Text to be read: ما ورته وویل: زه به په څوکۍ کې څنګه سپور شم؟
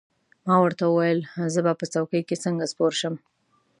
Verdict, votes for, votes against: accepted, 2, 0